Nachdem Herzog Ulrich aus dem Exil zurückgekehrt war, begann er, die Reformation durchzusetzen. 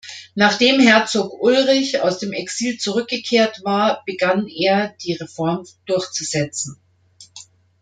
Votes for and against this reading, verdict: 0, 2, rejected